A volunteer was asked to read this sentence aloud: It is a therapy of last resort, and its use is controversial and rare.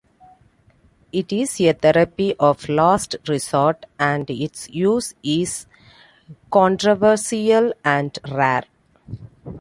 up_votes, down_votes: 1, 2